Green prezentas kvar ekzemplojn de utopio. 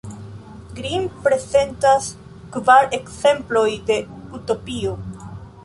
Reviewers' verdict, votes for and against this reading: rejected, 0, 2